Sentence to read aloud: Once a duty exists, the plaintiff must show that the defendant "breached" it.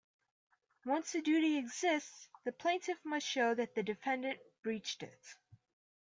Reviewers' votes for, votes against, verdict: 2, 0, accepted